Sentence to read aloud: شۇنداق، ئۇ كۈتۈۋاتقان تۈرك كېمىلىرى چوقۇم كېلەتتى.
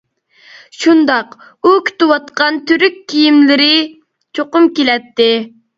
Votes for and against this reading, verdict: 0, 2, rejected